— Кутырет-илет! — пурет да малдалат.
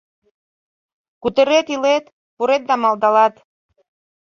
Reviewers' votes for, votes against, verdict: 2, 0, accepted